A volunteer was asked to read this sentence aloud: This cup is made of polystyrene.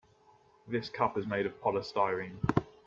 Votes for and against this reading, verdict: 2, 0, accepted